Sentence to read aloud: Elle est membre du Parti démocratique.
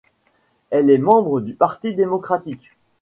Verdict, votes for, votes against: accepted, 2, 0